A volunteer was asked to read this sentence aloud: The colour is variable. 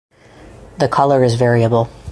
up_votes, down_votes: 2, 0